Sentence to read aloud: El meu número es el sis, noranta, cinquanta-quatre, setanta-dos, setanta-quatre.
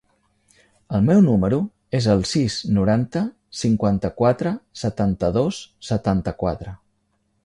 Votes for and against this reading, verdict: 3, 0, accepted